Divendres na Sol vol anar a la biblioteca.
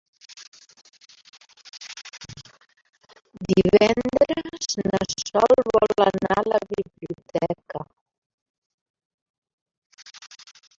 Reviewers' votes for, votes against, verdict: 0, 2, rejected